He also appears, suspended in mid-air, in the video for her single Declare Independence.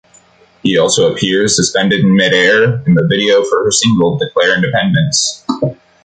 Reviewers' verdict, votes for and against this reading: accepted, 2, 0